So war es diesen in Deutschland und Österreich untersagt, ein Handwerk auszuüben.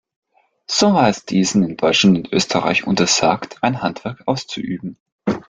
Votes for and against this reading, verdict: 2, 0, accepted